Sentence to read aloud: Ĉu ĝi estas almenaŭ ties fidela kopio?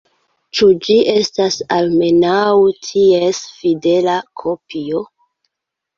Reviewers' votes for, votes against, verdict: 0, 2, rejected